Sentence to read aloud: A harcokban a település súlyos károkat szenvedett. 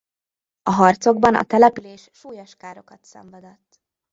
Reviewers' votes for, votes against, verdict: 0, 2, rejected